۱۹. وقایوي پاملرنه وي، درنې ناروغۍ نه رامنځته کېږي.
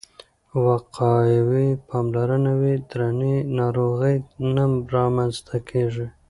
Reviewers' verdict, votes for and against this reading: rejected, 0, 2